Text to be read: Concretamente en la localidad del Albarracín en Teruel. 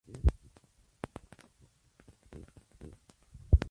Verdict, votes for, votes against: rejected, 0, 4